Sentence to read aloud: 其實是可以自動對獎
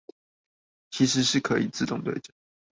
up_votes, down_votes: 0, 2